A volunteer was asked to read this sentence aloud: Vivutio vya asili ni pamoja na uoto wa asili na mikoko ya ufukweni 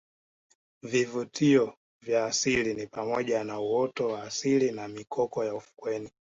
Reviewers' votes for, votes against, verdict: 2, 0, accepted